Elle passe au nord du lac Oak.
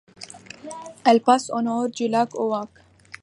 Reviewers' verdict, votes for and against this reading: accepted, 2, 0